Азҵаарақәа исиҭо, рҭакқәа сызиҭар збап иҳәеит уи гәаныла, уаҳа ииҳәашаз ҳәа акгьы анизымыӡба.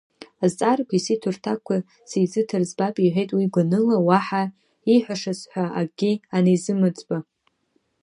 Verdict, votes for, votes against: accepted, 2, 0